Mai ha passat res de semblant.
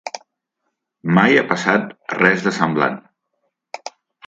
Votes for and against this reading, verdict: 3, 1, accepted